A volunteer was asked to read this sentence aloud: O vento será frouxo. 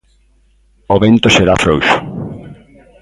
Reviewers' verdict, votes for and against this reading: rejected, 1, 2